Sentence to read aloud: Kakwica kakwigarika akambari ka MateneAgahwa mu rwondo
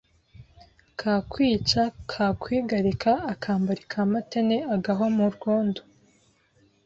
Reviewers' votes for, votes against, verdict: 2, 0, accepted